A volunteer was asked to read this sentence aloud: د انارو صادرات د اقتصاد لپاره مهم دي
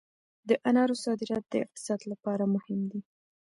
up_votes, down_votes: 2, 0